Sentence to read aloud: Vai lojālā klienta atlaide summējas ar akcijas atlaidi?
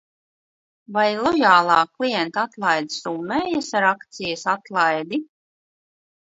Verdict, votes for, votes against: rejected, 0, 2